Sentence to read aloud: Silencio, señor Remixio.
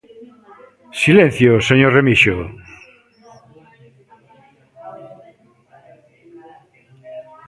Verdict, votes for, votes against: accepted, 2, 0